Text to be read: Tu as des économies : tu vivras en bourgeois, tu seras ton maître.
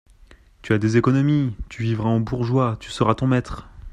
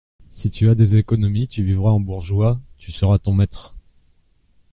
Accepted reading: first